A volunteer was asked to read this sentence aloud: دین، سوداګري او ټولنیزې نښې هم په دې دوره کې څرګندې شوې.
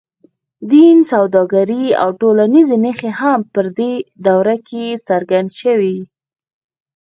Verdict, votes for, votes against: rejected, 2, 4